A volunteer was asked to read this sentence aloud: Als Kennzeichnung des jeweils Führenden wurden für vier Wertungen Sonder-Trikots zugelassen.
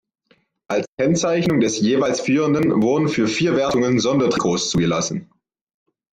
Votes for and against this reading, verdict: 1, 2, rejected